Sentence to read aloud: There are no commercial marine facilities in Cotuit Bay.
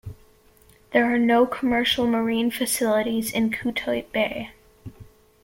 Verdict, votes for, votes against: accepted, 2, 0